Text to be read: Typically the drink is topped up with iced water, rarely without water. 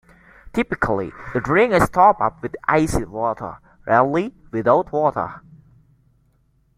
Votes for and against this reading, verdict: 2, 1, accepted